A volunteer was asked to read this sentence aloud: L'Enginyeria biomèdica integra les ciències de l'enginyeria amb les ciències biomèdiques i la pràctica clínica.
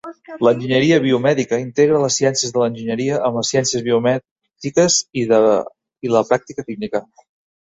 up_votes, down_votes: 1, 2